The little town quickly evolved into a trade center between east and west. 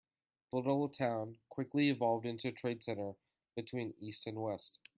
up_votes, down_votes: 2, 1